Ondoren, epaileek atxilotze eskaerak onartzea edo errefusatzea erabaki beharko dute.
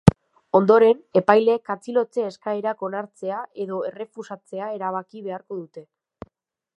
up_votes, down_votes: 1, 2